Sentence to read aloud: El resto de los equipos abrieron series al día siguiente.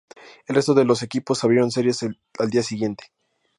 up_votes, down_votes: 4, 0